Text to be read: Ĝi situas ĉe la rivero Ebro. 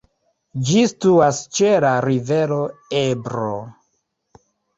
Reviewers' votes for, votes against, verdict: 1, 2, rejected